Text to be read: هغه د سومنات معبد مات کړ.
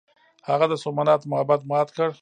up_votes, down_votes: 2, 0